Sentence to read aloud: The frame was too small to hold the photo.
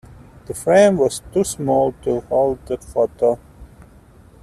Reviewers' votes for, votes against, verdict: 2, 0, accepted